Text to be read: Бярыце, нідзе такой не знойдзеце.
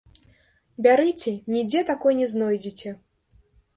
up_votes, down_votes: 1, 3